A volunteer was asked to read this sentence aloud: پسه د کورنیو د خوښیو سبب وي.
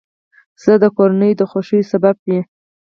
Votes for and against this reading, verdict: 2, 4, rejected